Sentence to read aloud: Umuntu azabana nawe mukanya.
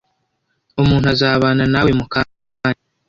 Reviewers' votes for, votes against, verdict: 1, 2, rejected